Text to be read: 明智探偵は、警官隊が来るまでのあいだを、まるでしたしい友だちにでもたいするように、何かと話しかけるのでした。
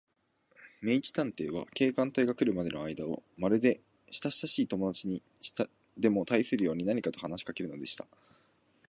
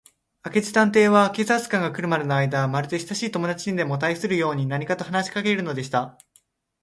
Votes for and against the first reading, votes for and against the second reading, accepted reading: 1, 2, 2, 0, second